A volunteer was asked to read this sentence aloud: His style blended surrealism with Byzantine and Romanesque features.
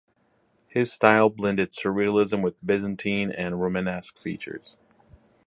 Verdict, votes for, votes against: accepted, 4, 0